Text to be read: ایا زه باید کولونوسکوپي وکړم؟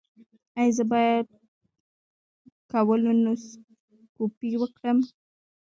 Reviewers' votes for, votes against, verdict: 2, 0, accepted